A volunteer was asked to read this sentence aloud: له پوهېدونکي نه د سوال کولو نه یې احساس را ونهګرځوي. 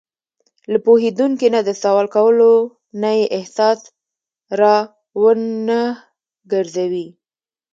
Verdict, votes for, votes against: accepted, 2, 1